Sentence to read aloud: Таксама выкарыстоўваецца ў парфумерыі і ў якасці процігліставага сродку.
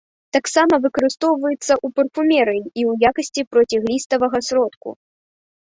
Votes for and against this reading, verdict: 2, 0, accepted